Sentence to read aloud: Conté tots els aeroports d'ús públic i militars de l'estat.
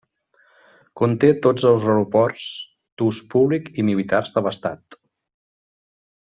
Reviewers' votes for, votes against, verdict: 1, 2, rejected